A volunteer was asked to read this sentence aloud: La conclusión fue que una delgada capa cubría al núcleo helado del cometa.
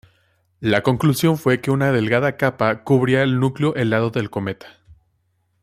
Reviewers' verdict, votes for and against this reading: rejected, 1, 2